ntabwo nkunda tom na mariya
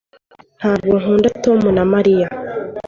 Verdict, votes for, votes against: accepted, 2, 0